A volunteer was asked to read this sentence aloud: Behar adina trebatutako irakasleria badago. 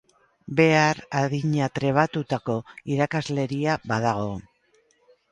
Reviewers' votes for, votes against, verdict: 2, 0, accepted